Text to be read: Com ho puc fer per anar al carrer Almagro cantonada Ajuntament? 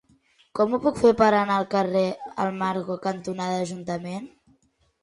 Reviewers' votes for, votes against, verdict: 0, 2, rejected